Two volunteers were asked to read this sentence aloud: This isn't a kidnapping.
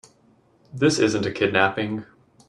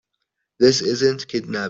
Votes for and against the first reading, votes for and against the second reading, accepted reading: 2, 0, 1, 3, first